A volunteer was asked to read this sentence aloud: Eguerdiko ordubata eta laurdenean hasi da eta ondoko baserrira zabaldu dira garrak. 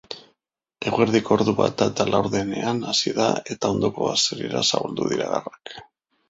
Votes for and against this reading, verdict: 2, 0, accepted